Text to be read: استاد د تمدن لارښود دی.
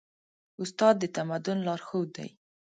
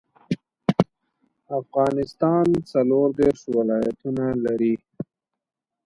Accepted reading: first